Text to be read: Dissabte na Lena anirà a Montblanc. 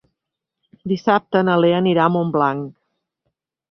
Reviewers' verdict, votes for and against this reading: rejected, 0, 4